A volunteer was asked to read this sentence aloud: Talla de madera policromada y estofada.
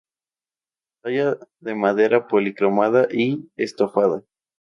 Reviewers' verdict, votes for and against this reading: accepted, 2, 0